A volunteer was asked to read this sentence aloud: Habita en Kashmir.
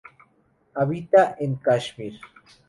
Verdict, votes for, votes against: rejected, 0, 2